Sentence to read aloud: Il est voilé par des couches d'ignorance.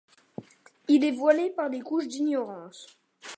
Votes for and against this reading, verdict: 2, 0, accepted